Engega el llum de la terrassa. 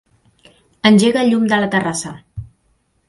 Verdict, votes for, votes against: accepted, 3, 0